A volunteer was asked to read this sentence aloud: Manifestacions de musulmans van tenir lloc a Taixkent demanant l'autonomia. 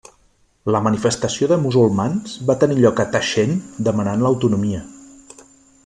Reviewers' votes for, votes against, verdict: 0, 2, rejected